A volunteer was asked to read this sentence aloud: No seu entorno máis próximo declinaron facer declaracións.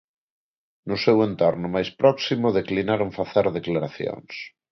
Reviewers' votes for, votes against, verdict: 2, 0, accepted